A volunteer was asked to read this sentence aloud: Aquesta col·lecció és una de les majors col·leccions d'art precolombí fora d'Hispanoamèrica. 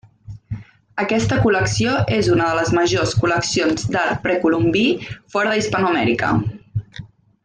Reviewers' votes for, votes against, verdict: 3, 0, accepted